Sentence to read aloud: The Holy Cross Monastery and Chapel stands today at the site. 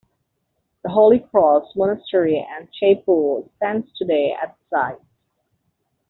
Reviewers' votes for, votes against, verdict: 1, 2, rejected